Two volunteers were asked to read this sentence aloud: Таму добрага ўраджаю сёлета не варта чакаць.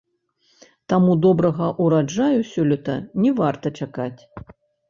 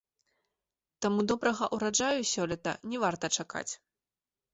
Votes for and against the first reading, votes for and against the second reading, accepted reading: 1, 2, 2, 0, second